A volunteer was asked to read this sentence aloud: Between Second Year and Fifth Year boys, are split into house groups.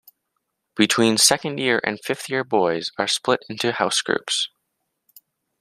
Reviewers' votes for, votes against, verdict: 2, 0, accepted